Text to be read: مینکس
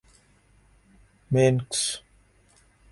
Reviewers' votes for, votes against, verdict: 4, 1, accepted